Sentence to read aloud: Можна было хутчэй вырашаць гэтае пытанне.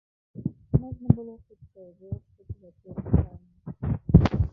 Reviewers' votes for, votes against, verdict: 0, 2, rejected